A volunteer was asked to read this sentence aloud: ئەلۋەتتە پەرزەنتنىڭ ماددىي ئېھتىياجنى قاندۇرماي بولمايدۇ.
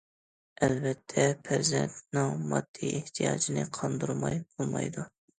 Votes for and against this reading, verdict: 2, 0, accepted